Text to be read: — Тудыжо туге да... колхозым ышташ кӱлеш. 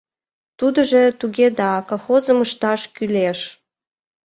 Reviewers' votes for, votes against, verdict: 2, 1, accepted